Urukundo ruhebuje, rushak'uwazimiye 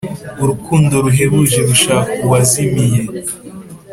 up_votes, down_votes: 2, 0